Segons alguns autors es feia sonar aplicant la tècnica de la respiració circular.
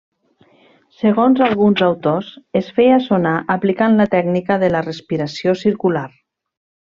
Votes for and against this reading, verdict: 3, 0, accepted